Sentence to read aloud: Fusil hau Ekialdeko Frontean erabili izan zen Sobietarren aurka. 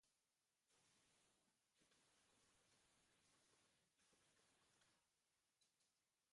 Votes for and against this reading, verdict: 0, 2, rejected